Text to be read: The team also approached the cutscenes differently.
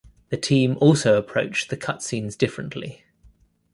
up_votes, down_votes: 2, 0